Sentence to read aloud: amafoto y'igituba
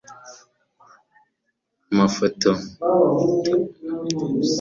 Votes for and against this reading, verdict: 0, 2, rejected